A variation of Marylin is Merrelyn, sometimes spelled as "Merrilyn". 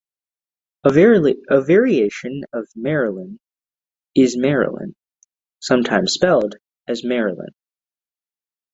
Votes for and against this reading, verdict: 1, 2, rejected